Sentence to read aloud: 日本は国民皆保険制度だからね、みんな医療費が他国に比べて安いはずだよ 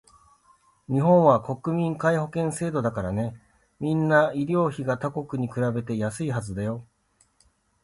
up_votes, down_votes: 2, 0